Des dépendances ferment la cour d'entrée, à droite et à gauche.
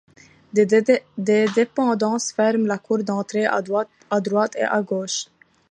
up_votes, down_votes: 0, 2